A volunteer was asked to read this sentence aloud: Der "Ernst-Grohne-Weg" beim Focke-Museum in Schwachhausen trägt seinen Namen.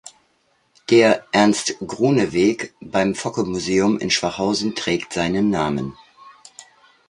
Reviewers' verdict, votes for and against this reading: accepted, 2, 0